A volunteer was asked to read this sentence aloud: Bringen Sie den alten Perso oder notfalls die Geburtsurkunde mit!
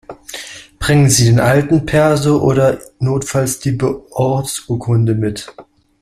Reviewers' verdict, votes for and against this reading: rejected, 0, 2